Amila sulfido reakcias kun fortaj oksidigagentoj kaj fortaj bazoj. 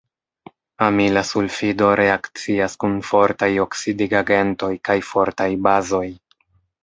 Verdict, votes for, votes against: accepted, 2, 0